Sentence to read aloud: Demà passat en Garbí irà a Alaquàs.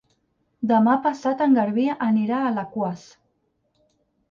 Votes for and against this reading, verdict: 0, 4, rejected